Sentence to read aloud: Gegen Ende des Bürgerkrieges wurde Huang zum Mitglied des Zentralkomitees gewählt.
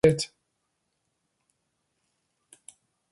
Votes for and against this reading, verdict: 0, 2, rejected